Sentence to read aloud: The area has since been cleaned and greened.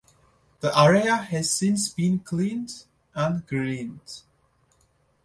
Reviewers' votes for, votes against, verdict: 2, 0, accepted